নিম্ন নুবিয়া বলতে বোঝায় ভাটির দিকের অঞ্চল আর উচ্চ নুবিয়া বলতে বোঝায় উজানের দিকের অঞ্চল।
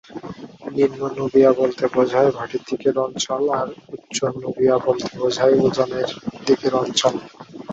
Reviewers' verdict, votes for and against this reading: accepted, 2, 0